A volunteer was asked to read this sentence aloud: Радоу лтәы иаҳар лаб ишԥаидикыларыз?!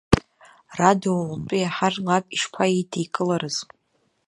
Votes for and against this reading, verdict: 1, 2, rejected